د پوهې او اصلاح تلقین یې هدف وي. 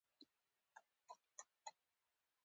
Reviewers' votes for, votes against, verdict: 0, 2, rejected